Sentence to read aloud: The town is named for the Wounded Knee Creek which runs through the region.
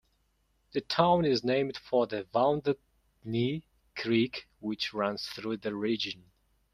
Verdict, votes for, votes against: rejected, 0, 2